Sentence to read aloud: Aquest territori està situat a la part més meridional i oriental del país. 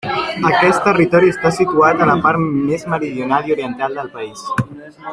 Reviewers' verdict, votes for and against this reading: rejected, 0, 2